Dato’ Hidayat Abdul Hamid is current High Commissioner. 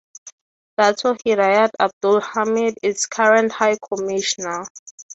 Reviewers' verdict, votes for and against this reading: accepted, 3, 0